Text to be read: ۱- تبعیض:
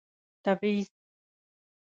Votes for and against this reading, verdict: 0, 2, rejected